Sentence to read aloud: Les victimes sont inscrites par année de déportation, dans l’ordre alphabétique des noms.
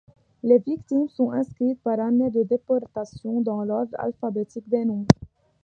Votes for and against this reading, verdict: 2, 0, accepted